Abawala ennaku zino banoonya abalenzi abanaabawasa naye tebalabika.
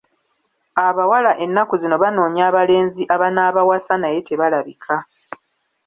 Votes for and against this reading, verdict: 1, 2, rejected